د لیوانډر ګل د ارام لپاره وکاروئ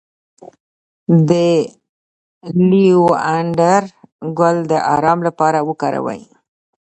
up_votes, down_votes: 2, 0